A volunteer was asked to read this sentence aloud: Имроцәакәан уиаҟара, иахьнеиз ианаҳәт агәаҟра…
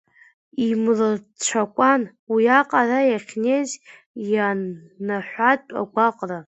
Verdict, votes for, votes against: rejected, 0, 2